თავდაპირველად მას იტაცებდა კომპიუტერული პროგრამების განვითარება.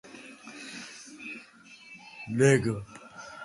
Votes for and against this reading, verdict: 0, 2, rejected